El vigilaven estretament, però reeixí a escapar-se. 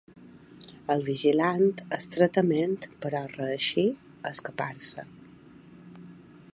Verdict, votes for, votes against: rejected, 1, 2